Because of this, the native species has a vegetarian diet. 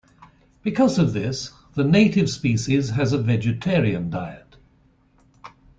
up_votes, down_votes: 2, 0